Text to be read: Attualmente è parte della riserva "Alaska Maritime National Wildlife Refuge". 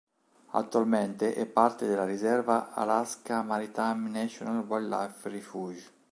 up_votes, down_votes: 1, 2